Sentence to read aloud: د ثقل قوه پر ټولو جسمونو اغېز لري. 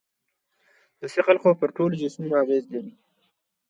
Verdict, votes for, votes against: accepted, 2, 0